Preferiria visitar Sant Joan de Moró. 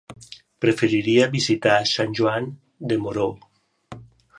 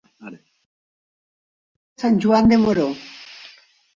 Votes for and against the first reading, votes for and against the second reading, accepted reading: 3, 0, 0, 2, first